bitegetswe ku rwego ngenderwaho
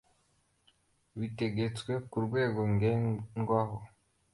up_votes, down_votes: 2, 1